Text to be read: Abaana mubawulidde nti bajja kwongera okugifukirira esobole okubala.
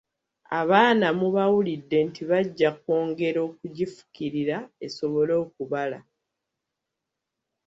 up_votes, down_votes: 0, 2